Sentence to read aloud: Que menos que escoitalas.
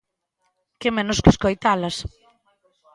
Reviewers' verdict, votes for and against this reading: accepted, 2, 1